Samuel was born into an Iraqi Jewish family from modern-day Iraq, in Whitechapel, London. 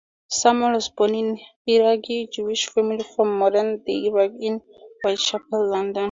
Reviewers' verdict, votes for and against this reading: rejected, 0, 4